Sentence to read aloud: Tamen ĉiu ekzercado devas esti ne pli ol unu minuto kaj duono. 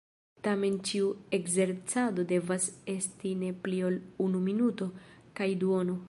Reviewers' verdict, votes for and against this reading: accepted, 2, 1